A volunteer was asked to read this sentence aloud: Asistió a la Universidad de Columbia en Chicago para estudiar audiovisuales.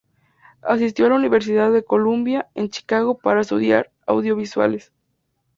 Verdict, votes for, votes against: accepted, 2, 0